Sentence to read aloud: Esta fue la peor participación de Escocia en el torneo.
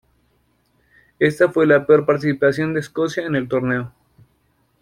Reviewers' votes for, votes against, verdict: 2, 0, accepted